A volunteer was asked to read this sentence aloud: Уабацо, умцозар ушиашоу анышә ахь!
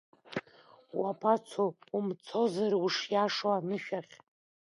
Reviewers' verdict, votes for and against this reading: accepted, 2, 0